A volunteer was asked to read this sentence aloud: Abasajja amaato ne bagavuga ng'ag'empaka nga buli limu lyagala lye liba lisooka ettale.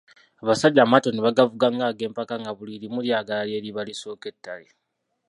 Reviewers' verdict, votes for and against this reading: rejected, 1, 2